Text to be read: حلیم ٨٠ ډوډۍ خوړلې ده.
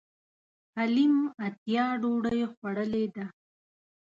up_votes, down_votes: 0, 2